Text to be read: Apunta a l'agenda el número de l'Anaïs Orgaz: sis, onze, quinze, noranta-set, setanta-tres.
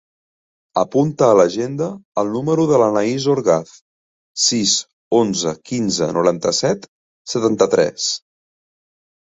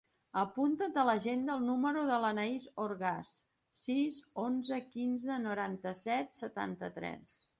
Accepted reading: first